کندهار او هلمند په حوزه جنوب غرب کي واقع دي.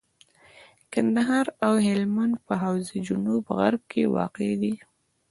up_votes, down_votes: 2, 0